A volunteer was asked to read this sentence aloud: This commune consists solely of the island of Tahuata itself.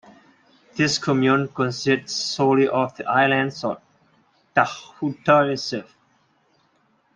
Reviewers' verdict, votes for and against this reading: rejected, 0, 2